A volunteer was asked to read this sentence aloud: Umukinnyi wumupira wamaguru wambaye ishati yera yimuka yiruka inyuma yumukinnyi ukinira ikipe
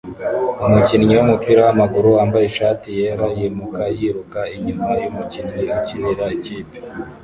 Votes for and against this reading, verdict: 0, 2, rejected